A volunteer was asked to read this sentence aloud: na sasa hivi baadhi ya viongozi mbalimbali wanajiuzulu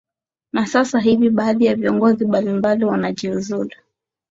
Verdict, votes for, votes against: accepted, 7, 1